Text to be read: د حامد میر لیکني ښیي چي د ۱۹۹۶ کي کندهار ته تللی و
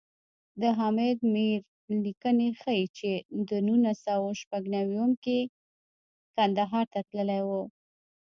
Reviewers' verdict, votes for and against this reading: rejected, 0, 2